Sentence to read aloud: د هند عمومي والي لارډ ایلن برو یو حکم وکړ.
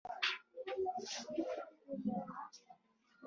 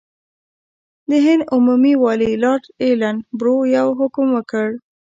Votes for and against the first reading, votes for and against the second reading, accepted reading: 0, 2, 2, 0, second